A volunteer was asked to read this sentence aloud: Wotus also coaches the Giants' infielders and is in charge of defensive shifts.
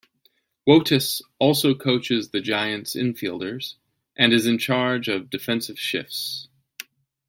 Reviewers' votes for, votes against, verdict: 2, 0, accepted